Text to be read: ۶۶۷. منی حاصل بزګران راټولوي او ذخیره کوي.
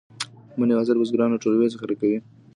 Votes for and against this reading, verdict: 0, 2, rejected